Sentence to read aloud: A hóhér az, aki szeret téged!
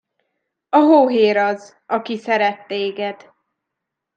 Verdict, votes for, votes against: accepted, 2, 0